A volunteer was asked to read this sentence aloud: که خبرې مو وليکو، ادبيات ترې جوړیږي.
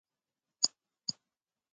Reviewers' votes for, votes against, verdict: 1, 2, rejected